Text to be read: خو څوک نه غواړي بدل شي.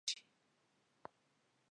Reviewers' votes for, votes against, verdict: 0, 2, rejected